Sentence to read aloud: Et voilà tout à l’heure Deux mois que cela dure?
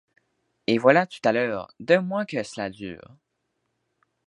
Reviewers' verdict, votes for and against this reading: accepted, 2, 0